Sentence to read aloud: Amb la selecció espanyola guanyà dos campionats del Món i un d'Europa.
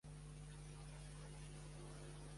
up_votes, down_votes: 1, 2